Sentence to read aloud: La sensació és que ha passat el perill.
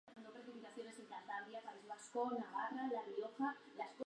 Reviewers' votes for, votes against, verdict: 0, 3, rejected